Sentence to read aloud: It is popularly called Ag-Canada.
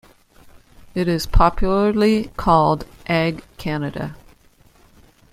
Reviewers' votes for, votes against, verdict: 2, 0, accepted